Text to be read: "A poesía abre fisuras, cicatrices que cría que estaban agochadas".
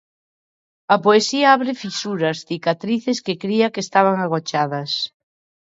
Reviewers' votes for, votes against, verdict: 2, 0, accepted